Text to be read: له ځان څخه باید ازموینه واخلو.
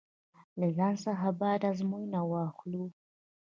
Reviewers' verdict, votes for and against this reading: accepted, 2, 0